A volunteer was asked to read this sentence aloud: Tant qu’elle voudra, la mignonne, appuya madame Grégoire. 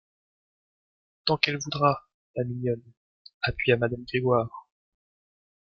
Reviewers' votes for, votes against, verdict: 0, 2, rejected